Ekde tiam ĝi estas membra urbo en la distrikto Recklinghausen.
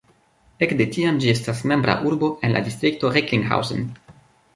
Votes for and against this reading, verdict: 3, 1, accepted